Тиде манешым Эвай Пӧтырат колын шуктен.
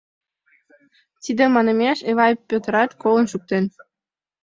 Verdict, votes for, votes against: rejected, 0, 2